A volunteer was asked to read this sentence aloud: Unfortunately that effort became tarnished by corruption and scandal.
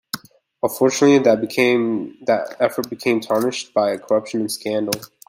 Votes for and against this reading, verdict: 0, 2, rejected